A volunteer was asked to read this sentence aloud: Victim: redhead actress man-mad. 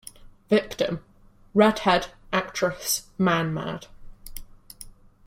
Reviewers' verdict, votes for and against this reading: rejected, 0, 2